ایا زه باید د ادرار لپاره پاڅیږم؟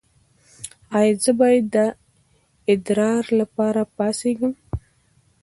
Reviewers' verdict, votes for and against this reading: accepted, 2, 1